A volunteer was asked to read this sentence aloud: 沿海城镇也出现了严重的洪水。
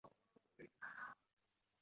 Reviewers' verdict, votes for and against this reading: rejected, 1, 7